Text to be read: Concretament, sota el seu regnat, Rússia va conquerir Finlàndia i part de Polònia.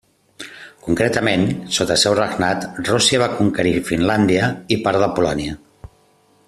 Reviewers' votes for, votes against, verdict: 2, 0, accepted